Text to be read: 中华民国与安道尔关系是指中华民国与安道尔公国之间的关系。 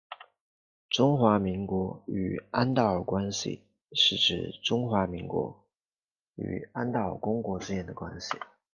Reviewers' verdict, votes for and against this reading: accepted, 2, 0